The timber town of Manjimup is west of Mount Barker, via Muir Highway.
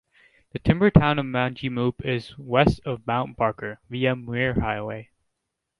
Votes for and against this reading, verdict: 2, 0, accepted